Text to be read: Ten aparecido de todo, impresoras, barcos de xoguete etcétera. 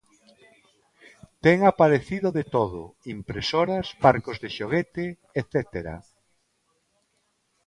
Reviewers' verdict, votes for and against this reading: accepted, 2, 0